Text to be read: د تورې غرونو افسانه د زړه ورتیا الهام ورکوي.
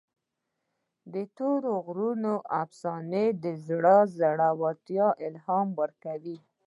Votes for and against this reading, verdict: 0, 2, rejected